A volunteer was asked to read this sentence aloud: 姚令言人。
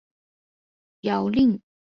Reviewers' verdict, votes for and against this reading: rejected, 0, 2